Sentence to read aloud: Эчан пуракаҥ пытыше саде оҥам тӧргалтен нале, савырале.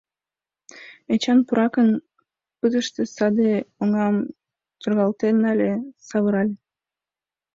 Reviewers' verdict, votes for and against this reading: rejected, 1, 3